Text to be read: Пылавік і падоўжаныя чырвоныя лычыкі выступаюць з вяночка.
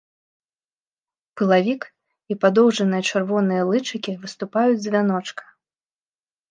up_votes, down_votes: 2, 0